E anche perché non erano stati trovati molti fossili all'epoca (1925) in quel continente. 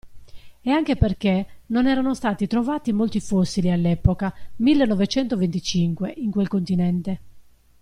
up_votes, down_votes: 0, 2